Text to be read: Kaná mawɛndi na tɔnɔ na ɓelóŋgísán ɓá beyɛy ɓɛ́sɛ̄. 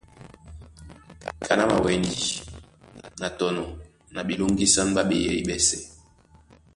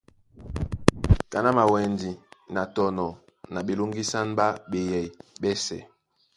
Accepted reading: second